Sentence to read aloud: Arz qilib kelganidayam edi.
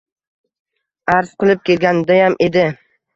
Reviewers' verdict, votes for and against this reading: accepted, 2, 0